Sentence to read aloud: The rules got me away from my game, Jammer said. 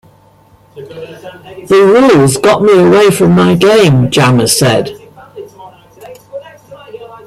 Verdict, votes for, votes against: rejected, 0, 2